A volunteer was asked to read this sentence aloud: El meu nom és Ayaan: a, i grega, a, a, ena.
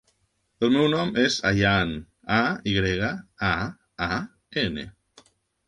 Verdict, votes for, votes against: rejected, 1, 2